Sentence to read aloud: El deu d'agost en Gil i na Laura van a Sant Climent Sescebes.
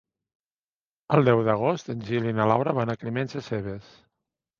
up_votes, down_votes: 0, 2